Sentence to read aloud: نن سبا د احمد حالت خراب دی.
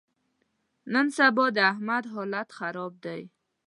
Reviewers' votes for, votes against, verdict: 2, 0, accepted